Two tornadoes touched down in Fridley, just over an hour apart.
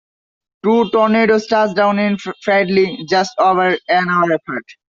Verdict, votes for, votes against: accepted, 2, 1